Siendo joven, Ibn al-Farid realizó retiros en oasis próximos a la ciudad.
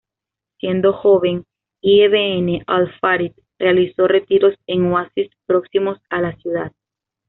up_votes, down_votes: 2, 1